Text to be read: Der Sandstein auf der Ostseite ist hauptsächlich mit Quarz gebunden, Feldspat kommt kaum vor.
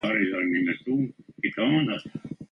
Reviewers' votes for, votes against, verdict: 0, 2, rejected